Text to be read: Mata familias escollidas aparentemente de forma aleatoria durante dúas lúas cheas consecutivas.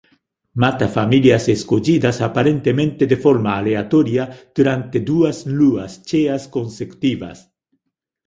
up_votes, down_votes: 2, 1